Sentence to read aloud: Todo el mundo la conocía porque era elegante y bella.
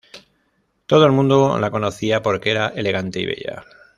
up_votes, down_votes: 2, 0